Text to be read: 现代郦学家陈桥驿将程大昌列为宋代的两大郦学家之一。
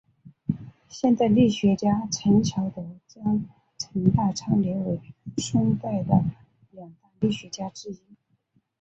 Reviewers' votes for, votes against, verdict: 0, 2, rejected